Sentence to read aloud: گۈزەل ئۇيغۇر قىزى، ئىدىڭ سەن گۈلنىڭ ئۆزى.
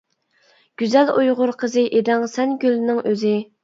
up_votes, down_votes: 2, 0